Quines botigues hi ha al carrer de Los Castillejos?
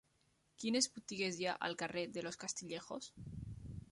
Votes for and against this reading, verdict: 3, 0, accepted